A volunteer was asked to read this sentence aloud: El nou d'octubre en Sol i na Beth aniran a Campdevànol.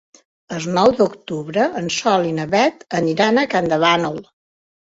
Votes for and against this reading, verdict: 0, 3, rejected